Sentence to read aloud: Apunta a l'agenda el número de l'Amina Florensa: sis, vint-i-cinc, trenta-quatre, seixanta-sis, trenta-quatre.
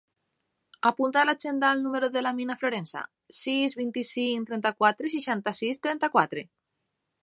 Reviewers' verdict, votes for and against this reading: accepted, 2, 0